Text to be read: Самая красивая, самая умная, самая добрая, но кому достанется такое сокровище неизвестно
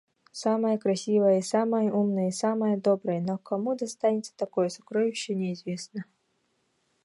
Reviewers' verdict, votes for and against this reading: rejected, 1, 2